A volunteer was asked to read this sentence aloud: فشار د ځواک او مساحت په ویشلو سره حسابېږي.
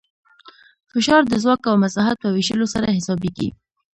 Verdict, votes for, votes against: rejected, 1, 2